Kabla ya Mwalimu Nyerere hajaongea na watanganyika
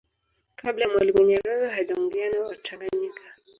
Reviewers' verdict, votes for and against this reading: rejected, 1, 2